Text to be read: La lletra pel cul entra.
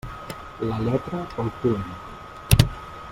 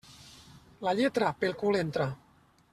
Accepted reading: second